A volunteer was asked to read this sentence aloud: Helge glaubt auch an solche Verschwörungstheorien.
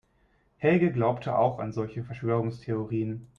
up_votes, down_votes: 1, 2